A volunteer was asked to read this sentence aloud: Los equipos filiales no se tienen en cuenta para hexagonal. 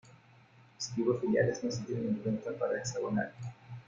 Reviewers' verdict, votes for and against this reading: rejected, 0, 2